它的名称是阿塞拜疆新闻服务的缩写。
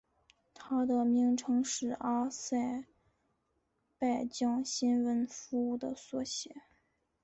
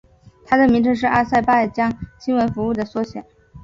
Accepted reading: first